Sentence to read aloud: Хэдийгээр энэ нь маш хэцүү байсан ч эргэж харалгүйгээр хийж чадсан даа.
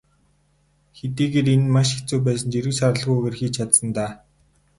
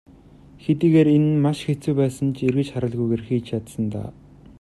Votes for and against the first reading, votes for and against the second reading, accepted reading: 2, 2, 2, 0, second